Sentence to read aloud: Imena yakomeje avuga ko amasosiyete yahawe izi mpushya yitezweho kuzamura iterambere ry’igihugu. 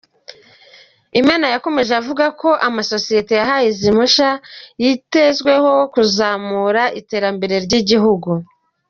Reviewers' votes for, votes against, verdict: 1, 2, rejected